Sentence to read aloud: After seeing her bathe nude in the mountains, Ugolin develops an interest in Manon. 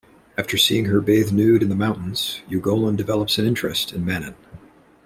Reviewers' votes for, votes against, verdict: 2, 0, accepted